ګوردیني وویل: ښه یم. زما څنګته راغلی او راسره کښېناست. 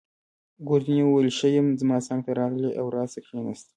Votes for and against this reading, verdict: 1, 2, rejected